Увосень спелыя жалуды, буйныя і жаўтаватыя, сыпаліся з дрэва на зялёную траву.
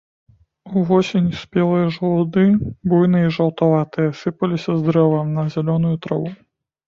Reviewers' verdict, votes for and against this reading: rejected, 1, 2